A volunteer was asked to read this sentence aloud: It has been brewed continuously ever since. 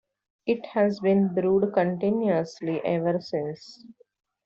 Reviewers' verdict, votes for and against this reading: accepted, 2, 1